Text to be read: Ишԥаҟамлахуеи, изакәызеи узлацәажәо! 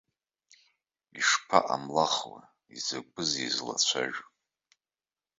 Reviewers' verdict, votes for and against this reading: rejected, 0, 2